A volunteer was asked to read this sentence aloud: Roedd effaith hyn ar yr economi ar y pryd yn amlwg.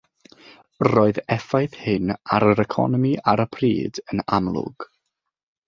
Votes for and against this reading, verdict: 3, 3, rejected